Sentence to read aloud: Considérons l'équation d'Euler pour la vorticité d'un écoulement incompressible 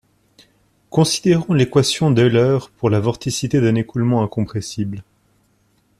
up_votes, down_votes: 2, 1